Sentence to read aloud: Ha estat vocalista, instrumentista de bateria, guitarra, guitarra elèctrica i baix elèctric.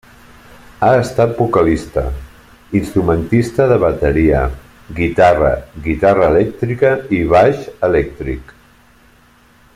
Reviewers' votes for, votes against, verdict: 3, 0, accepted